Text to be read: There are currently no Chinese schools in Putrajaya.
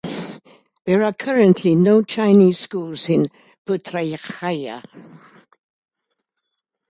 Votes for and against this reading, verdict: 1, 2, rejected